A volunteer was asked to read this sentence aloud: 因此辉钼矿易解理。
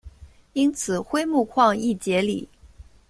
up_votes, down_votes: 2, 0